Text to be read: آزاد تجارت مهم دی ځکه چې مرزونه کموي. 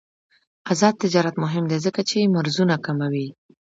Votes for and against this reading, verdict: 2, 0, accepted